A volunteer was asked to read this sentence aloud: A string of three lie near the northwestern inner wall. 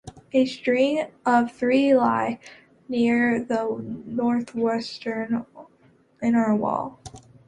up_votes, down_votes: 2, 0